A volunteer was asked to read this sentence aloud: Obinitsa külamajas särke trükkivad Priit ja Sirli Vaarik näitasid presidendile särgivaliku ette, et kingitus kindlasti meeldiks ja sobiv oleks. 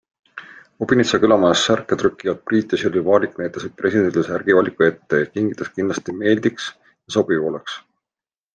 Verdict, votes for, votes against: accepted, 2, 0